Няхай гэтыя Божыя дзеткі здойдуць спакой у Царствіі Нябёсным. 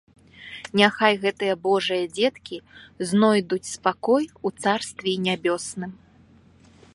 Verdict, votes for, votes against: accepted, 2, 0